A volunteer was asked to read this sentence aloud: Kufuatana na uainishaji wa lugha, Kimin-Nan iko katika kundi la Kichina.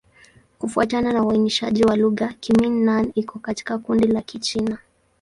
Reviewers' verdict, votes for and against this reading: accepted, 2, 0